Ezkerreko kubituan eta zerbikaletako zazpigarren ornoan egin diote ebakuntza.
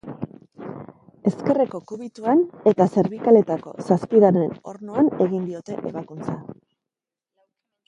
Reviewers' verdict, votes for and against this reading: accepted, 2, 0